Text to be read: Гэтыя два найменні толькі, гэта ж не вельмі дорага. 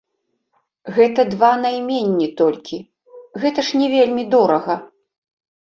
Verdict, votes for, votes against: rejected, 1, 2